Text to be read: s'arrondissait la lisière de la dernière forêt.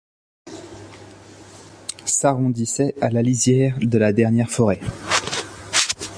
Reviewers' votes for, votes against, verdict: 0, 2, rejected